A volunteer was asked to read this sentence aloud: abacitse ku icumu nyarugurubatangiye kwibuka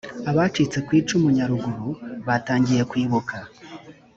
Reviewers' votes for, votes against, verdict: 2, 0, accepted